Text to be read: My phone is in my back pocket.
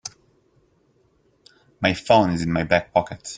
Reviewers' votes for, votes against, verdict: 2, 0, accepted